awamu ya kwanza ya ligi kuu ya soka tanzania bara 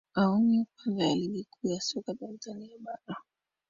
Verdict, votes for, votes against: accepted, 2, 1